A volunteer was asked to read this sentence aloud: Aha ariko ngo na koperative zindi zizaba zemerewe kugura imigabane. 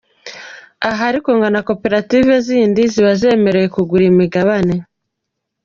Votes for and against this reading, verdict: 2, 0, accepted